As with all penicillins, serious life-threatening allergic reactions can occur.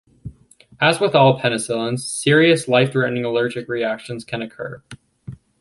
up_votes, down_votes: 2, 0